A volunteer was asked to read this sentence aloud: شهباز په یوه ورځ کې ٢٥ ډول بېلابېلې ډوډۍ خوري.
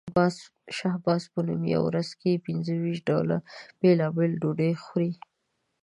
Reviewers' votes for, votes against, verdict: 0, 2, rejected